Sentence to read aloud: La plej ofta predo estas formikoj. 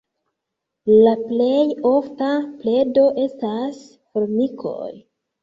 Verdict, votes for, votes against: accepted, 2, 1